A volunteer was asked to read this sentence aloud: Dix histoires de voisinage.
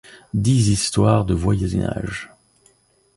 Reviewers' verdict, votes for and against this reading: rejected, 1, 2